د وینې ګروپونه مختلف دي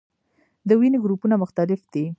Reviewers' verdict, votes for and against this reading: accepted, 2, 0